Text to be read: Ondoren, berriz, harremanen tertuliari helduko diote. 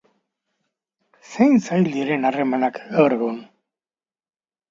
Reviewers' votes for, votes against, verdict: 0, 2, rejected